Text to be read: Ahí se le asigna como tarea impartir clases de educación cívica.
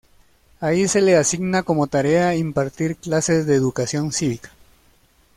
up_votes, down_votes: 1, 2